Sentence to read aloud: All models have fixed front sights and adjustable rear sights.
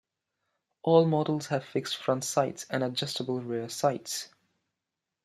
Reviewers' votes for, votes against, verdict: 2, 1, accepted